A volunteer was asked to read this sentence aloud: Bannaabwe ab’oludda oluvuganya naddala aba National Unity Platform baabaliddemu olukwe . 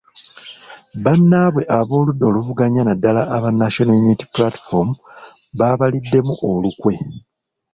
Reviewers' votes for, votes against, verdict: 1, 2, rejected